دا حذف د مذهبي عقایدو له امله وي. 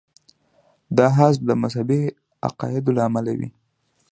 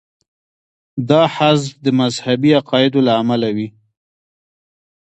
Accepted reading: first